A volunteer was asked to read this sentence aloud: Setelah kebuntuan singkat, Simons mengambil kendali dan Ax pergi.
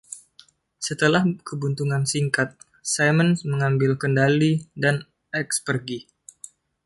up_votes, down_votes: 1, 2